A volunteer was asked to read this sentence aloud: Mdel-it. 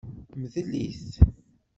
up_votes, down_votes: 1, 2